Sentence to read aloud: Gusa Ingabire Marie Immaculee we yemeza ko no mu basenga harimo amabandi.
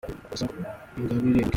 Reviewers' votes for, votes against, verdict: 0, 2, rejected